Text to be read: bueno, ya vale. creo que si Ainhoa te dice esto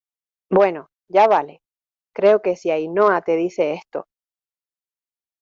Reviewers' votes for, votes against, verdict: 2, 1, accepted